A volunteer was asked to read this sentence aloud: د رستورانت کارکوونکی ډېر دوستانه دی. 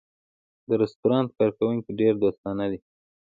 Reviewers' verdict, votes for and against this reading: accepted, 4, 1